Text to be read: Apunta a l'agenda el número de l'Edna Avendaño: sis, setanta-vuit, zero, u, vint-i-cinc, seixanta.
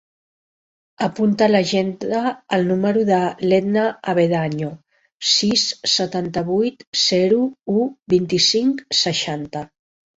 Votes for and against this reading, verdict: 0, 3, rejected